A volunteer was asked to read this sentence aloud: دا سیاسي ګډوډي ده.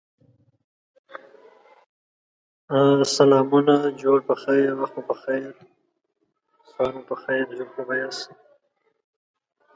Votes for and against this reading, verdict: 0, 2, rejected